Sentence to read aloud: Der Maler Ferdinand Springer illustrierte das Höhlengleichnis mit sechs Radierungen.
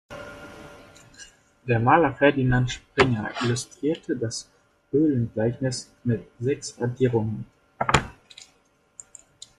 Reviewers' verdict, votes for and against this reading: rejected, 0, 2